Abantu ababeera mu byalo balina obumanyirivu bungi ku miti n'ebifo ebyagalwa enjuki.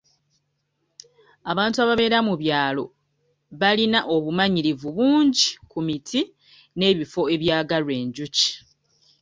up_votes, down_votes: 1, 2